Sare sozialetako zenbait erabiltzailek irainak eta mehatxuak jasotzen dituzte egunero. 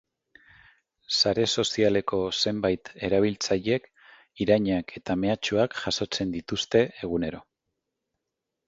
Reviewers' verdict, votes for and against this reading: rejected, 1, 2